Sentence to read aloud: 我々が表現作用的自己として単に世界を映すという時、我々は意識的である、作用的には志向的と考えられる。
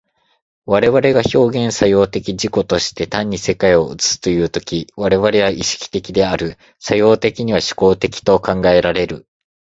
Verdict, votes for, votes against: accepted, 2, 0